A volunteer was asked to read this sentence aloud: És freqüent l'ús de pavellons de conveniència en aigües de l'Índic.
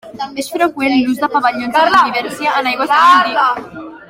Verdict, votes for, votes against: rejected, 0, 3